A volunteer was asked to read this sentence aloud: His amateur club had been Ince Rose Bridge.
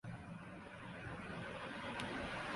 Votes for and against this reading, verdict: 0, 2, rejected